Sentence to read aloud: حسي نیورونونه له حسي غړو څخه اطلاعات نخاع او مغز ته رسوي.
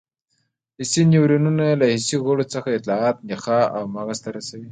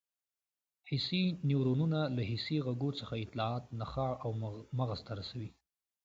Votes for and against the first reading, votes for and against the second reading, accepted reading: 1, 2, 2, 0, second